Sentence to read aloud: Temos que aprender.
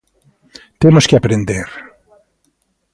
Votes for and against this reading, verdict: 2, 0, accepted